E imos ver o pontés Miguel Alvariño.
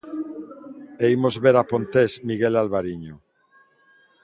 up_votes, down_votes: 0, 2